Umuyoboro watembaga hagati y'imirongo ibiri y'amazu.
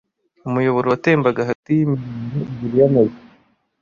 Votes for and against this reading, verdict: 0, 2, rejected